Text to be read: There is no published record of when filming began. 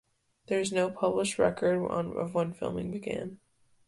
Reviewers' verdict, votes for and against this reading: rejected, 0, 2